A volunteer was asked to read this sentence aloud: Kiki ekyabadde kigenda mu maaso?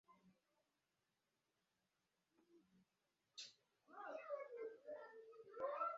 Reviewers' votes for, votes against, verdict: 0, 2, rejected